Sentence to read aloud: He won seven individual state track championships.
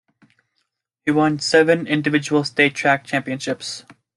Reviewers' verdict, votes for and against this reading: accepted, 2, 0